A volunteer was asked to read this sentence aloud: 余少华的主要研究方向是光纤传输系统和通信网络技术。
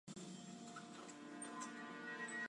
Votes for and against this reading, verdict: 1, 3, rejected